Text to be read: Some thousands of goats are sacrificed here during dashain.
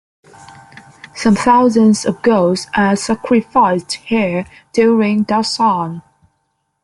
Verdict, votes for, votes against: rejected, 0, 2